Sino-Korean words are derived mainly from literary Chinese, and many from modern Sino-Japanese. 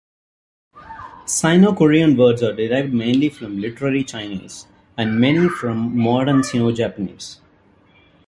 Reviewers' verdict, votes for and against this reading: rejected, 1, 2